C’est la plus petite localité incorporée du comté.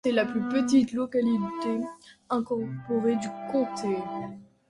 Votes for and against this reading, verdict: 1, 2, rejected